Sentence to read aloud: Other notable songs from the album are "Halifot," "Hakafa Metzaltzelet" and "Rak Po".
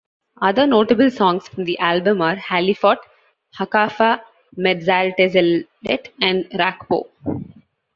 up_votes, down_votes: 3, 1